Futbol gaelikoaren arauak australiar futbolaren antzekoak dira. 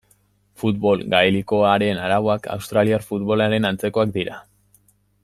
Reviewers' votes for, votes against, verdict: 2, 0, accepted